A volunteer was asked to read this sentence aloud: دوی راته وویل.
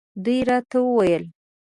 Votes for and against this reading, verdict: 2, 0, accepted